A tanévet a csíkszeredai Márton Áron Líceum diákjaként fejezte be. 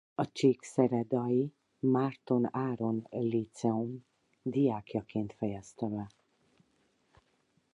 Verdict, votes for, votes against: rejected, 0, 4